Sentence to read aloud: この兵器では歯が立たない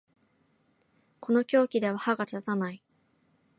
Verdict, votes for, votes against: rejected, 1, 5